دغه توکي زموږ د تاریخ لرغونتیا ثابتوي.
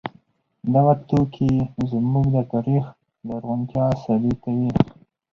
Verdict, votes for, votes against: rejected, 2, 4